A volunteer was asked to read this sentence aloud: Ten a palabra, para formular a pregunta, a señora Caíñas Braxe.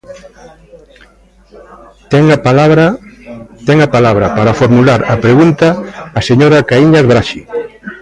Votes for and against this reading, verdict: 0, 2, rejected